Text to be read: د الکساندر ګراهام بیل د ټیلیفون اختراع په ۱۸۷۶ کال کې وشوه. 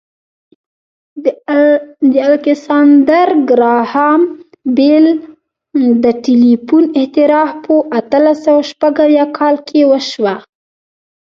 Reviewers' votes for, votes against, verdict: 0, 2, rejected